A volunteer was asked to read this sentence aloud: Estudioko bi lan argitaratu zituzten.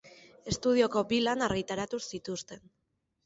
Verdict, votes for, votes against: accepted, 2, 0